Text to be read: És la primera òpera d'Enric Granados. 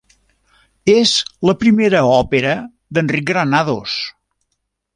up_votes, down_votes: 3, 0